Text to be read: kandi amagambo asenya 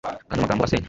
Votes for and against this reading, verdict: 1, 2, rejected